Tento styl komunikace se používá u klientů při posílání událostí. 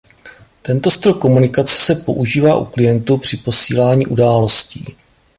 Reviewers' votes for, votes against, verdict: 2, 0, accepted